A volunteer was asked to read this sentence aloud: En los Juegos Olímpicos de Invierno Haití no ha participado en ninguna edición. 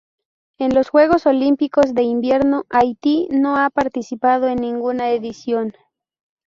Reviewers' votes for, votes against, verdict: 2, 0, accepted